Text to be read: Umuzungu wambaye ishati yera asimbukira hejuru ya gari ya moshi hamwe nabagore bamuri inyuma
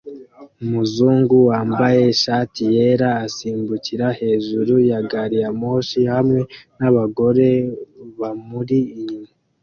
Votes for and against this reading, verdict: 2, 0, accepted